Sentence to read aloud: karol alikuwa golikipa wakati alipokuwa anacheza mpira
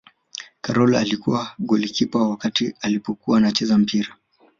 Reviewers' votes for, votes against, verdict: 2, 0, accepted